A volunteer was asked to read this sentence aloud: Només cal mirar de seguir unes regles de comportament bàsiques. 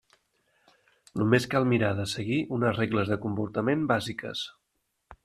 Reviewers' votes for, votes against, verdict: 3, 0, accepted